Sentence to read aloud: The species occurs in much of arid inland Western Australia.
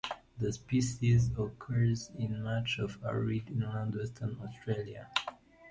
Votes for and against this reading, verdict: 2, 0, accepted